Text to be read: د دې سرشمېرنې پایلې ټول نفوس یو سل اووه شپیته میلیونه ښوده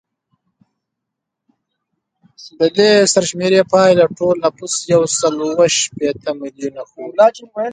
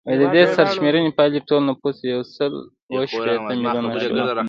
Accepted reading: first